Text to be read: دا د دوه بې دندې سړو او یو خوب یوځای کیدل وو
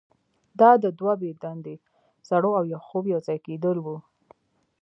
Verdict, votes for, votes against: rejected, 1, 2